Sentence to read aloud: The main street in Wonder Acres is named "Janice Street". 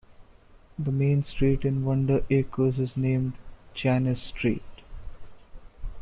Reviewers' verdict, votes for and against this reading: rejected, 2, 3